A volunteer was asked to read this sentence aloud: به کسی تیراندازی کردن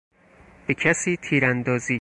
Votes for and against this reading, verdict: 0, 4, rejected